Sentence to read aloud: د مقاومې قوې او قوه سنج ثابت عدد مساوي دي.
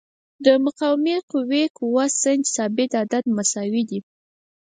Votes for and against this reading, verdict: 2, 4, rejected